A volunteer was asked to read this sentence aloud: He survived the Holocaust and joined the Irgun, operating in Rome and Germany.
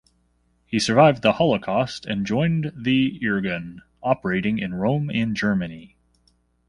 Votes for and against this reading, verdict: 2, 0, accepted